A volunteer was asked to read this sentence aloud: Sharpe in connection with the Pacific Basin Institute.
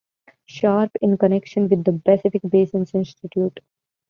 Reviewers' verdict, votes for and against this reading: accepted, 2, 0